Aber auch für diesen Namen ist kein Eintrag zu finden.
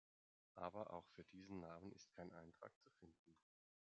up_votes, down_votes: 1, 2